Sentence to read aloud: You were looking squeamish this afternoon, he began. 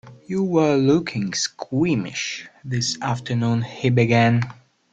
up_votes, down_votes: 2, 1